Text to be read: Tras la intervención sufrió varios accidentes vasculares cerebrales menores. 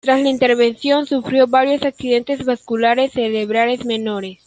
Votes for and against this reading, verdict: 1, 2, rejected